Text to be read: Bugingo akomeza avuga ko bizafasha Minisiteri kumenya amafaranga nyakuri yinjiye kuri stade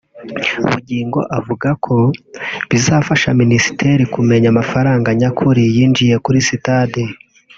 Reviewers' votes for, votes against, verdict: 1, 2, rejected